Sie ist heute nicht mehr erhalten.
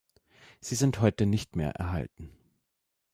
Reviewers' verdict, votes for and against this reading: rejected, 1, 2